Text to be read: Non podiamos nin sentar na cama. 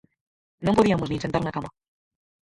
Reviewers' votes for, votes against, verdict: 0, 4, rejected